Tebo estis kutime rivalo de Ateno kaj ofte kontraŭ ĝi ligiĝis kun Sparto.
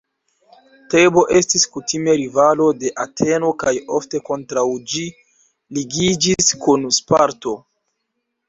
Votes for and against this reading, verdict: 2, 0, accepted